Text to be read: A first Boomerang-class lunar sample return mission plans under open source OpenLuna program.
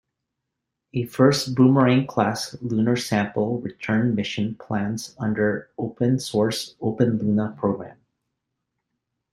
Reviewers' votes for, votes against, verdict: 1, 2, rejected